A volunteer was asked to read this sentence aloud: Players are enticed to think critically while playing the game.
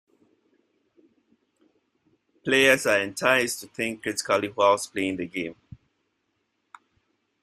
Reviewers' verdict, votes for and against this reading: rejected, 1, 2